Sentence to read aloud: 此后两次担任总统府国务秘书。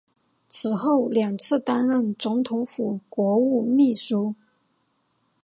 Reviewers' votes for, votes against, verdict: 1, 2, rejected